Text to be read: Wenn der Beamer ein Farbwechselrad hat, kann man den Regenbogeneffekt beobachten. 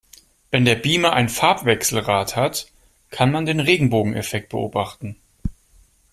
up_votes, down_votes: 2, 0